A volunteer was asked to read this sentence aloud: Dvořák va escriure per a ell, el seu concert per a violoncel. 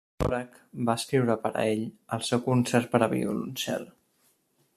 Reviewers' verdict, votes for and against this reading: rejected, 1, 2